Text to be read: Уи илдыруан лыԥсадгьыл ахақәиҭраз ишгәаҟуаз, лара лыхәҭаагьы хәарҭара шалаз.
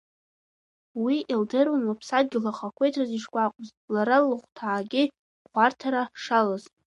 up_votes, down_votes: 3, 1